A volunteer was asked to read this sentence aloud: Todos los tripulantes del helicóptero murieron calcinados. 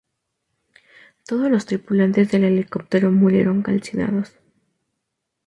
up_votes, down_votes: 2, 0